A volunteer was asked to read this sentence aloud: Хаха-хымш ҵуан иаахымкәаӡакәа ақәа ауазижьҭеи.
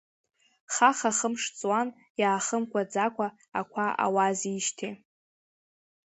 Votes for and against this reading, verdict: 1, 2, rejected